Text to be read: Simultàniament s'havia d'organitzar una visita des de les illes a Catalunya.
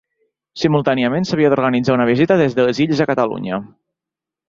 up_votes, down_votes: 3, 0